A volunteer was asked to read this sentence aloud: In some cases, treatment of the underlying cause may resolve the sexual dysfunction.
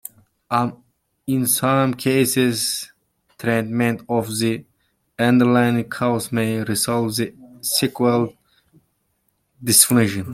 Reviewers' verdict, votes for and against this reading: rejected, 0, 2